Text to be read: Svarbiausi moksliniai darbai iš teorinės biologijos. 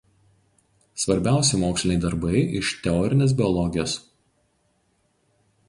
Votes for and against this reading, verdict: 4, 0, accepted